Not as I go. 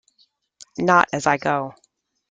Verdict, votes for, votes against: accepted, 2, 0